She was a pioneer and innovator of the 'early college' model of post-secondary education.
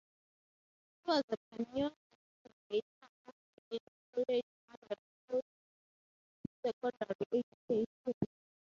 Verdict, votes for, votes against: rejected, 0, 3